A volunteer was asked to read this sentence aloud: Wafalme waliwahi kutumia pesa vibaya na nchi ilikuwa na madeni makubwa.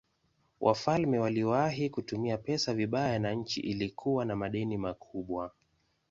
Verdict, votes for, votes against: accepted, 2, 0